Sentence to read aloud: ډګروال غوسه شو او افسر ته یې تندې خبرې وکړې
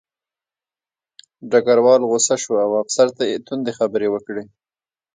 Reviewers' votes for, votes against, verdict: 1, 2, rejected